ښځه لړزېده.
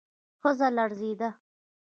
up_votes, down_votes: 2, 1